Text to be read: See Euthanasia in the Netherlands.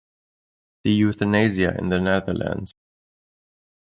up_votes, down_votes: 1, 2